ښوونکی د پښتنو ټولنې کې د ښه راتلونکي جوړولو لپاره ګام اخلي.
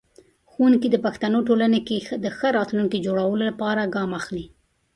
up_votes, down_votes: 0, 2